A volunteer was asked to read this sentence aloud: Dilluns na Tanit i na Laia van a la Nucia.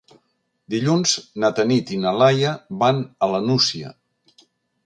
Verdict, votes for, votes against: accepted, 3, 0